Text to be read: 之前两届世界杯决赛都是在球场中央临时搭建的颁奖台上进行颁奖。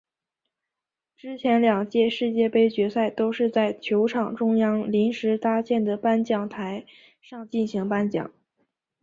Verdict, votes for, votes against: accepted, 2, 0